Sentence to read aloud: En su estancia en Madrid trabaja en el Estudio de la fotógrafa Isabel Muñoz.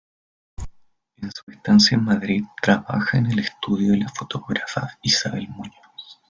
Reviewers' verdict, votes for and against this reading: accepted, 2, 0